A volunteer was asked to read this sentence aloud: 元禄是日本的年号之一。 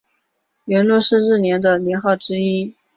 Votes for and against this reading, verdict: 3, 1, accepted